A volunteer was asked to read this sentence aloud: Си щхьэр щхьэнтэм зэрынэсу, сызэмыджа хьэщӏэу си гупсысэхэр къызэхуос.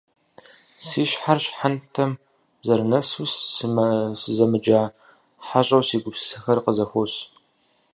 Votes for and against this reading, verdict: 0, 4, rejected